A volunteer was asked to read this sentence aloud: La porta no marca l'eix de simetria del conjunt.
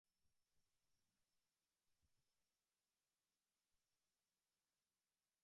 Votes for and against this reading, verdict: 0, 2, rejected